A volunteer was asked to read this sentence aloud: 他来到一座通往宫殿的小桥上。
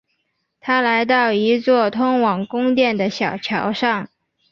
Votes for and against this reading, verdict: 3, 0, accepted